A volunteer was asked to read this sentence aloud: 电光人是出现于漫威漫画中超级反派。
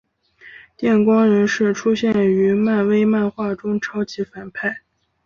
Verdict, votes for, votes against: accepted, 4, 0